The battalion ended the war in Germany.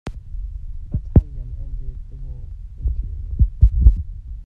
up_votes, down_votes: 0, 2